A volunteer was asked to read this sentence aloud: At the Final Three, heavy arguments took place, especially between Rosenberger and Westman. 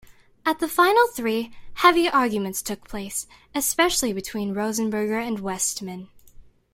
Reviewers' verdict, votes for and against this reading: accepted, 2, 0